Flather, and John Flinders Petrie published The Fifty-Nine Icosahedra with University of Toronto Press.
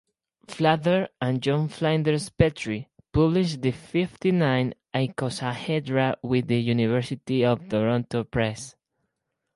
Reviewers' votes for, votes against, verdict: 2, 0, accepted